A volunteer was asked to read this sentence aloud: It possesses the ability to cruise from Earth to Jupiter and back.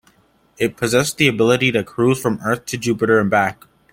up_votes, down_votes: 2, 0